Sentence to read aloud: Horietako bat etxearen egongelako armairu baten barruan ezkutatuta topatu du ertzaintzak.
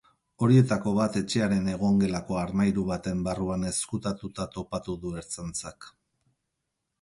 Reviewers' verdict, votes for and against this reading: accepted, 4, 0